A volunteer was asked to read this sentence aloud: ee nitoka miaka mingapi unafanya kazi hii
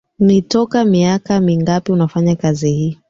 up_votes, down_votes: 1, 2